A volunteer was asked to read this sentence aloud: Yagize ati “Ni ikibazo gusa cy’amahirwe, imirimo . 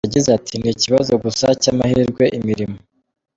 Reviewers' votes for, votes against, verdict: 2, 0, accepted